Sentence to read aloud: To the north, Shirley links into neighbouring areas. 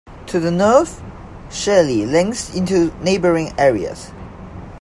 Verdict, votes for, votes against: accepted, 2, 0